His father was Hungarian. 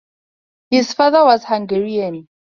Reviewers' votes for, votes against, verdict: 2, 0, accepted